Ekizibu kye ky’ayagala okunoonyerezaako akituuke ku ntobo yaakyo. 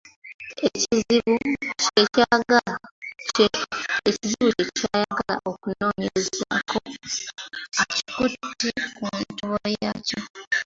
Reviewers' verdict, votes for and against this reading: rejected, 0, 2